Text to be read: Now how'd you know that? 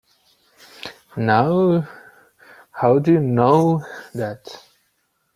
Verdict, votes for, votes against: accepted, 3, 2